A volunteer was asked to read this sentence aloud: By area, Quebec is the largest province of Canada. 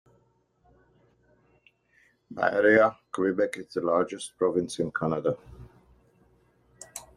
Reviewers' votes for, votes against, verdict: 2, 0, accepted